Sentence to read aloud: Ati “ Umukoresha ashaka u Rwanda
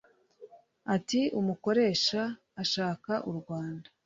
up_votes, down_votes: 2, 0